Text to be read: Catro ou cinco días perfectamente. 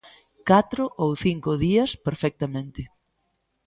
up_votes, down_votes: 2, 0